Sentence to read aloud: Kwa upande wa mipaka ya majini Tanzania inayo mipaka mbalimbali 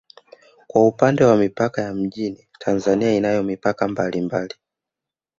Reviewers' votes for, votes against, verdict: 0, 2, rejected